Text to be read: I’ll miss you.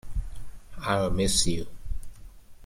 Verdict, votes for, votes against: accepted, 2, 0